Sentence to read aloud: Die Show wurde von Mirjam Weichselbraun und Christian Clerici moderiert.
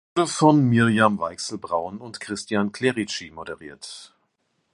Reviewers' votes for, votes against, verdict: 1, 2, rejected